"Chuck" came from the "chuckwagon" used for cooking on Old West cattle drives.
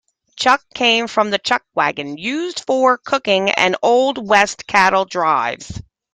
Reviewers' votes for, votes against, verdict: 1, 2, rejected